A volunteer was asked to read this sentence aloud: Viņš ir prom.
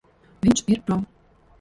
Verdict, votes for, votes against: rejected, 1, 2